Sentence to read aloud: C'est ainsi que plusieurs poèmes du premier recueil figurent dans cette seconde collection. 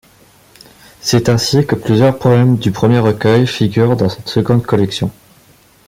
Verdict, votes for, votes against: accepted, 2, 0